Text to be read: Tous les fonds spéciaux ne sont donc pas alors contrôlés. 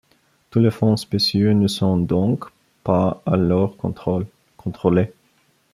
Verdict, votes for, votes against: rejected, 0, 2